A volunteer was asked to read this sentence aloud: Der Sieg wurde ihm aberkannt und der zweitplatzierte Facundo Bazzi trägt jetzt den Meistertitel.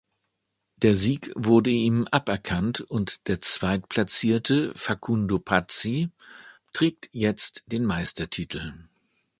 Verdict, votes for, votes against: rejected, 0, 2